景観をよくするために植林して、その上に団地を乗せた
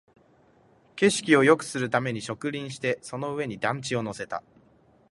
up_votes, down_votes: 1, 2